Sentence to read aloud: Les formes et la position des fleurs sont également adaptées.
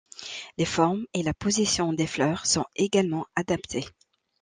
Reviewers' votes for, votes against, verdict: 2, 0, accepted